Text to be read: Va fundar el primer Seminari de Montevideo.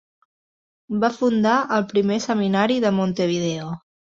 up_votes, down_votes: 2, 0